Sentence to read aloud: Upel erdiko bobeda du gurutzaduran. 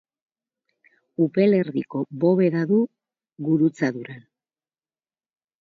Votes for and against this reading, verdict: 4, 0, accepted